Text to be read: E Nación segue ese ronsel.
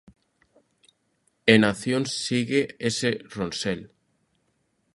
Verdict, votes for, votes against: rejected, 0, 2